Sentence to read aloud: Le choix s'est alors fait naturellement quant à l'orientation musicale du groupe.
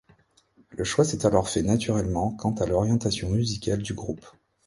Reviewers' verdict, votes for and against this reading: accepted, 2, 0